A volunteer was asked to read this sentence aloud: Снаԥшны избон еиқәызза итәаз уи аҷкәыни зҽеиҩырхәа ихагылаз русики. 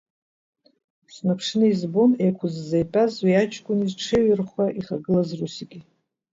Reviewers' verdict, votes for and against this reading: accepted, 2, 0